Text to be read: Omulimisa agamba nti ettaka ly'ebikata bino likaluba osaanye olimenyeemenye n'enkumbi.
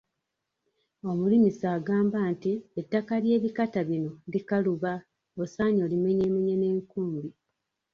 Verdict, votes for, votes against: rejected, 1, 2